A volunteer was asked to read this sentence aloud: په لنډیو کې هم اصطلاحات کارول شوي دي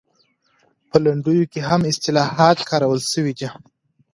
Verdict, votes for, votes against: accepted, 2, 0